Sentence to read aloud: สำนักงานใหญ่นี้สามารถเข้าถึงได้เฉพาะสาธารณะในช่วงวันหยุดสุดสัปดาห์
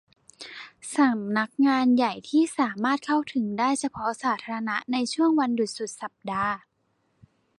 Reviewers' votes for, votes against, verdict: 0, 2, rejected